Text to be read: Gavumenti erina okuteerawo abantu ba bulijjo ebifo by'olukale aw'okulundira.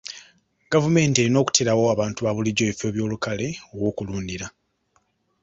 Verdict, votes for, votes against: accepted, 2, 0